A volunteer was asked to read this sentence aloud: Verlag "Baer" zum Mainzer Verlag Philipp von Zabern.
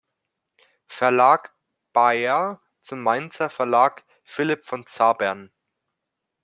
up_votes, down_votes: 1, 2